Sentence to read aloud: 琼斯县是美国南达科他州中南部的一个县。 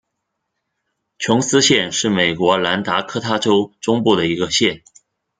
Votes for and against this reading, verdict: 0, 2, rejected